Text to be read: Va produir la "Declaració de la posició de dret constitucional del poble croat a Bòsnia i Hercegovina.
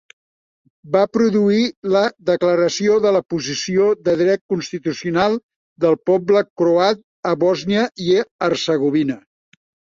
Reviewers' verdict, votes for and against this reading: accepted, 2, 0